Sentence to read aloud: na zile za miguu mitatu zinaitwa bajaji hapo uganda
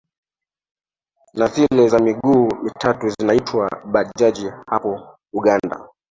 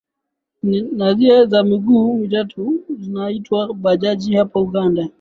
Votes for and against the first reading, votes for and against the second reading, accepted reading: 1, 2, 2, 0, second